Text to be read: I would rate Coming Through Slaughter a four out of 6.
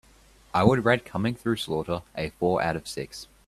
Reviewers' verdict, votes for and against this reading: rejected, 0, 2